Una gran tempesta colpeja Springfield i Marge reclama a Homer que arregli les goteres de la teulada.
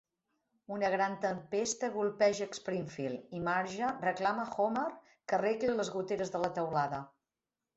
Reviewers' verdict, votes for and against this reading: rejected, 1, 2